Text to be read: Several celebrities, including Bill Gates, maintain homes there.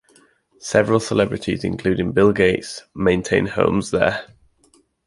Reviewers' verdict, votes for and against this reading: accepted, 2, 0